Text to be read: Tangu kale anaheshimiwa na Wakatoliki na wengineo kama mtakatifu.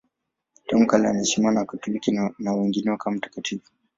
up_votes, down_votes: 2, 0